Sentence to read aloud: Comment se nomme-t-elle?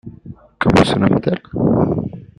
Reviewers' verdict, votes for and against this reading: accepted, 2, 1